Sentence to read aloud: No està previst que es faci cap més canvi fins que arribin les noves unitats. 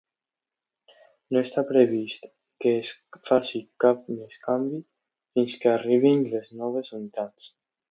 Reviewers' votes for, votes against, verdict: 2, 1, accepted